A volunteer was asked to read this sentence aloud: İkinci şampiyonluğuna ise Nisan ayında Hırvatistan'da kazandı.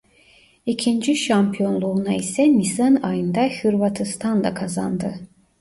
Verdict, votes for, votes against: accepted, 2, 1